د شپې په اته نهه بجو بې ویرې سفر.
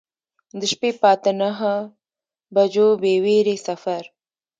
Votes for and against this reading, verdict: 2, 0, accepted